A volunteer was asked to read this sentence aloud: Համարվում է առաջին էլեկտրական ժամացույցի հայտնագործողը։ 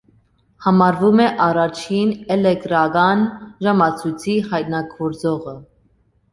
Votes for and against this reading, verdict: 2, 1, accepted